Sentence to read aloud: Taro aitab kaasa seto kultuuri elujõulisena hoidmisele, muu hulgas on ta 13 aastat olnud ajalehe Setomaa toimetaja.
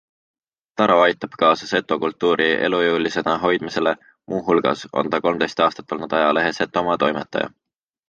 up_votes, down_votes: 0, 2